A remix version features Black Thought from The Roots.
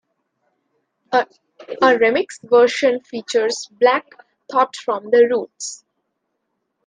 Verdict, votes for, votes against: rejected, 1, 2